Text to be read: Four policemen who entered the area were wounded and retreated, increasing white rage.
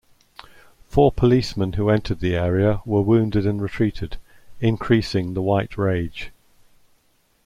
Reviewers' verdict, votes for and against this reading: rejected, 0, 2